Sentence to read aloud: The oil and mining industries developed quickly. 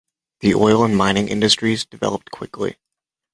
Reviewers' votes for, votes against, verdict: 2, 0, accepted